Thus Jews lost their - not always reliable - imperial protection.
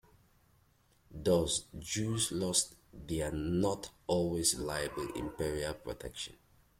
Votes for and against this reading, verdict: 2, 1, accepted